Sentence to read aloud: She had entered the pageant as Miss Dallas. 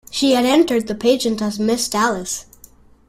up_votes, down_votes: 0, 2